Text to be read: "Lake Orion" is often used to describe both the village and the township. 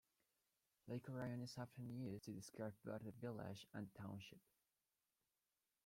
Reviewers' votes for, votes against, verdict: 2, 1, accepted